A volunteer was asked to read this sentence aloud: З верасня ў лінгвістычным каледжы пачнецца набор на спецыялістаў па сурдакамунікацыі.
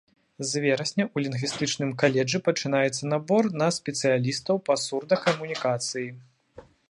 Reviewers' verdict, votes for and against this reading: accepted, 2, 1